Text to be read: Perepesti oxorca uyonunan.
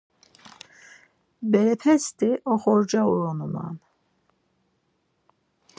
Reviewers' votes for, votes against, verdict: 2, 4, rejected